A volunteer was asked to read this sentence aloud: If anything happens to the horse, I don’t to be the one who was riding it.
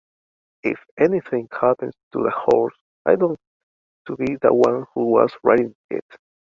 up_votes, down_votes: 2, 1